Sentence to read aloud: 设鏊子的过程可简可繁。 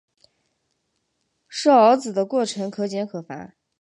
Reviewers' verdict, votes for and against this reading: accepted, 2, 1